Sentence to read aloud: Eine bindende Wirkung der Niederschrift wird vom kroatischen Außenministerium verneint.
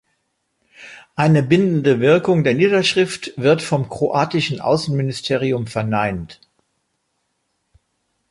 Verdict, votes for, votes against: accepted, 2, 0